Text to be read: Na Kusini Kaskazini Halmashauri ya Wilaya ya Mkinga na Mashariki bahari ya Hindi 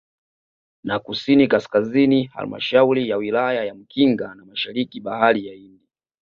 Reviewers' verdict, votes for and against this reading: accepted, 2, 0